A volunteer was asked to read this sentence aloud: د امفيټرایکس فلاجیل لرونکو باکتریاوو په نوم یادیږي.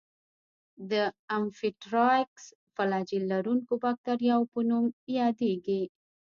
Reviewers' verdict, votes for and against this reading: rejected, 1, 2